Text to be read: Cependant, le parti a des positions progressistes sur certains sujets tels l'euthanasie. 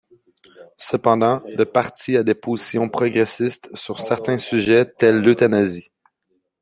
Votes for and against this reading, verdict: 2, 1, accepted